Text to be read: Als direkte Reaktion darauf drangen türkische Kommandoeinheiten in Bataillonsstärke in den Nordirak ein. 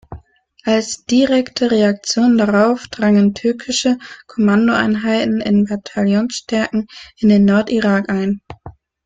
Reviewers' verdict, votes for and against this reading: rejected, 1, 2